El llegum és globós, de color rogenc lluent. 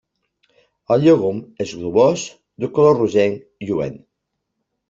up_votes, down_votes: 2, 0